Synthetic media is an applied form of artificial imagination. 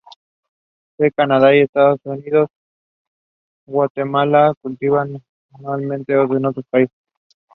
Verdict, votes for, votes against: rejected, 0, 2